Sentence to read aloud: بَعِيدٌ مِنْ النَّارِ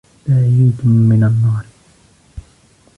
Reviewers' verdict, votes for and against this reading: rejected, 0, 2